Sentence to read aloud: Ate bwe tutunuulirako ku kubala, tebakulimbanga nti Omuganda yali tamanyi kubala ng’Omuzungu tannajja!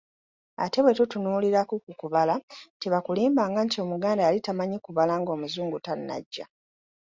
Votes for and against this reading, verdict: 2, 0, accepted